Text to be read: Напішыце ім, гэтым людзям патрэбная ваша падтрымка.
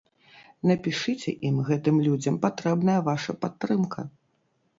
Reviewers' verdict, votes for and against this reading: accepted, 2, 0